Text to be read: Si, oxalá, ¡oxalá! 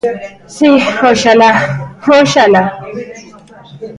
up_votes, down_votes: 1, 2